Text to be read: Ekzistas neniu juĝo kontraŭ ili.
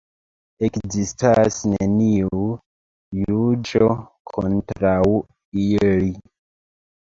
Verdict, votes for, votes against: accepted, 3, 1